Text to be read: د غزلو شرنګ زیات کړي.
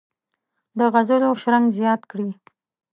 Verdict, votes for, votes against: accepted, 2, 0